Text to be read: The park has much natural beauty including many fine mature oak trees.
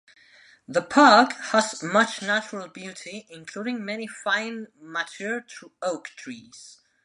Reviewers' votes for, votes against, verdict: 0, 2, rejected